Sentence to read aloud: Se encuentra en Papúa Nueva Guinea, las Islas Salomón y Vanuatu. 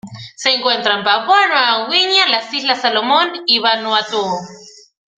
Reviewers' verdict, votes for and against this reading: rejected, 0, 2